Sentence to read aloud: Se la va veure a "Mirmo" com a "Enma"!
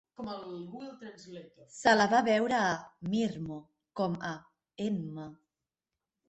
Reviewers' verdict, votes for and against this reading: rejected, 1, 3